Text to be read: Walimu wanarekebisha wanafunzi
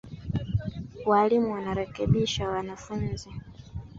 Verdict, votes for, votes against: rejected, 0, 2